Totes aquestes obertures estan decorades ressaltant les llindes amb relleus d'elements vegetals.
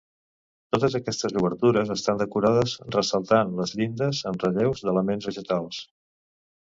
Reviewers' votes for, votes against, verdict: 2, 0, accepted